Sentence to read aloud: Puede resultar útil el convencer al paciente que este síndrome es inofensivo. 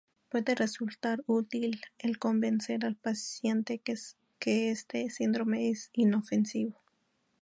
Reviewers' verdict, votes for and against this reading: accepted, 2, 0